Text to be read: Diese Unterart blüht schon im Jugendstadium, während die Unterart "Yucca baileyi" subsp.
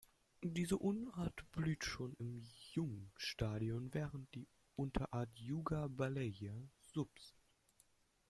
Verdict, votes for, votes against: rejected, 0, 2